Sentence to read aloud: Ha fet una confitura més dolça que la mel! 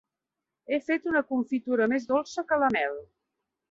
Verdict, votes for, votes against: rejected, 1, 2